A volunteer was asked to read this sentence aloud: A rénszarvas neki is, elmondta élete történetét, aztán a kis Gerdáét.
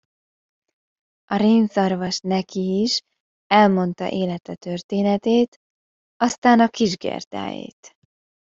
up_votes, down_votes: 1, 2